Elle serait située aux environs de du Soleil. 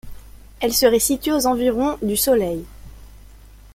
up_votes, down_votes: 1, 2